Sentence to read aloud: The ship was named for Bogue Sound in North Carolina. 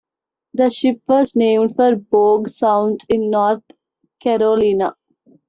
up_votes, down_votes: 1, 2